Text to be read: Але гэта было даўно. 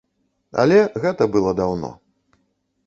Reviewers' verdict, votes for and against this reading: accepted, 2, 1